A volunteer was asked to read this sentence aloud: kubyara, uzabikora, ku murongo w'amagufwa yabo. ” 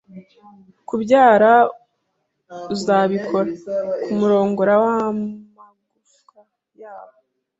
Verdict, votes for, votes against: rejected, 1, 2